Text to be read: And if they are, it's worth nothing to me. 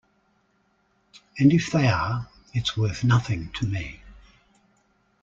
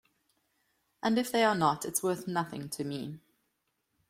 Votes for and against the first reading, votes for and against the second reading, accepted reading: 2, 0, 0, 2, first